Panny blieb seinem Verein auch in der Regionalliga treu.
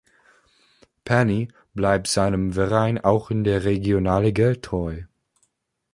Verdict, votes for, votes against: rejected, 1, 3